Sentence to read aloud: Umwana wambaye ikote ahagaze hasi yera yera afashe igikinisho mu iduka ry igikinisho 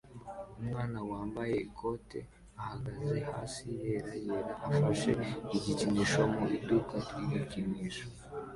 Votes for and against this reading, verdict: 2, 1, accepted